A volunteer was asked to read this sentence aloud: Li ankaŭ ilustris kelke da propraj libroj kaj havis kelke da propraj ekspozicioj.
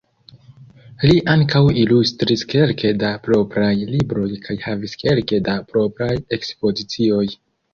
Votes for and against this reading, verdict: 2, 0, accepted